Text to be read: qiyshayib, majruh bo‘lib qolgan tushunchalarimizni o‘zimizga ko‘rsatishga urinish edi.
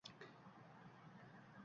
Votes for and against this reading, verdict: 1, 2, rejected